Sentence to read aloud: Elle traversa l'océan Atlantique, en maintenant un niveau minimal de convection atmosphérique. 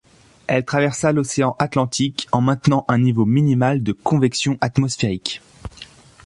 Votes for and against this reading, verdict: 2, 0, accepted